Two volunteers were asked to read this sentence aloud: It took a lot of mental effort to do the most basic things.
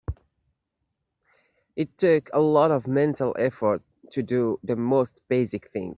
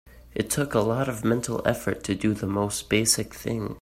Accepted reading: first